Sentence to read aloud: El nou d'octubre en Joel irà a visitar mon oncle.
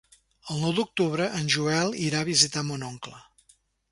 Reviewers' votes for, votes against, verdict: 3, 0, accepted